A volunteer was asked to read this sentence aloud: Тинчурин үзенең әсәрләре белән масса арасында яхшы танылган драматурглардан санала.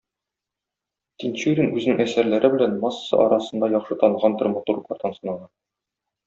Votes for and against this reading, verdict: 0, 2, rejected